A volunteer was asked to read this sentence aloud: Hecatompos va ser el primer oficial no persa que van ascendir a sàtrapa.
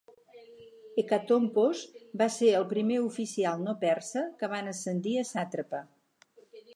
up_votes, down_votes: 4, 0